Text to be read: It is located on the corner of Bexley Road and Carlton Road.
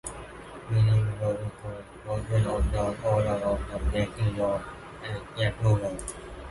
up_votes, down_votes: 0, 2